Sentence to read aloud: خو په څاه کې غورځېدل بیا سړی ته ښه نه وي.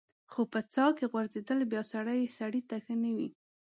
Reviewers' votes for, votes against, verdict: 1, 2, rejected